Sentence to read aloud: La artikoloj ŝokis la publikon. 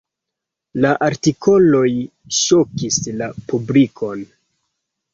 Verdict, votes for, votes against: accepted, 2, 1